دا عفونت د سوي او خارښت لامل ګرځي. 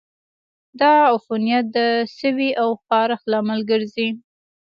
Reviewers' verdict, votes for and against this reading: rejected, 1, 2